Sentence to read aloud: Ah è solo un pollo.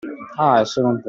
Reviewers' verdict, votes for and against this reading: rejected, 0, 2